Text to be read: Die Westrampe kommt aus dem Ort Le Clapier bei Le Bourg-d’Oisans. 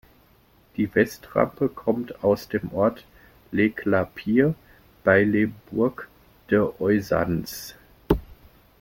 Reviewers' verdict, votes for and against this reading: rejected, 0, 2